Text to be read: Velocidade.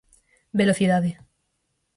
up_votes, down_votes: 4, 0